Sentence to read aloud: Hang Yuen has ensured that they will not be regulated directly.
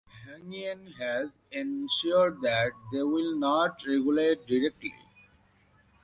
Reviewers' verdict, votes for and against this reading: rejected, 0, 2